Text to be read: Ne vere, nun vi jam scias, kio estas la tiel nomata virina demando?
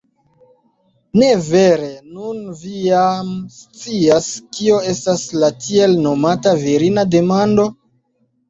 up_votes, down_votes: 2, 0